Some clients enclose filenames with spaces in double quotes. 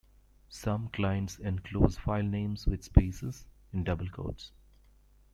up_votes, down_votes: 2, 0